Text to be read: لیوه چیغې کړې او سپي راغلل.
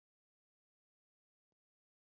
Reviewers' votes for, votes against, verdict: 0, 2, rejected